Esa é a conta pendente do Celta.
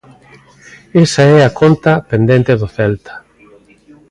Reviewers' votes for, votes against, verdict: 2, 0, accepted